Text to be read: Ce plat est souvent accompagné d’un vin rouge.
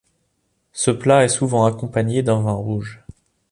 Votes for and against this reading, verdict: 2, 0, accepted